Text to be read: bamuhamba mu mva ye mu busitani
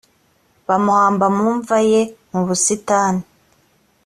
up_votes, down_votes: 2, 0